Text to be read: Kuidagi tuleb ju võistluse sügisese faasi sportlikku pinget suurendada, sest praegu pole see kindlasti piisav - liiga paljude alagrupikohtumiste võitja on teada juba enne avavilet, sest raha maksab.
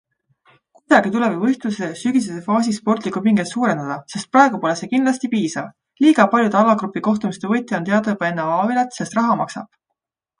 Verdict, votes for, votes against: rejected, 0, 2